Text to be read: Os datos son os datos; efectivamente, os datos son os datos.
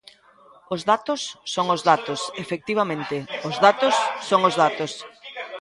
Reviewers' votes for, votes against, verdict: 2, 0, accepted